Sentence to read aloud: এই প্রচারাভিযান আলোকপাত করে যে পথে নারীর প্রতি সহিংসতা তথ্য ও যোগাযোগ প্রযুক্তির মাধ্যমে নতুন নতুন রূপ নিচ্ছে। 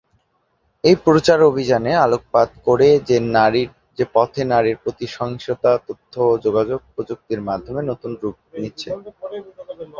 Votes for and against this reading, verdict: 1, 5, rejected